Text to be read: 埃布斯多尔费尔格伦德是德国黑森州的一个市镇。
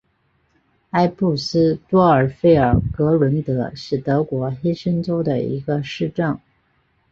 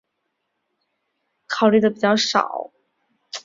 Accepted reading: first